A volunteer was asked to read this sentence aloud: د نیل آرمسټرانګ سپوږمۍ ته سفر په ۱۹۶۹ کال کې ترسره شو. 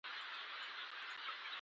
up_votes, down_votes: 0, 2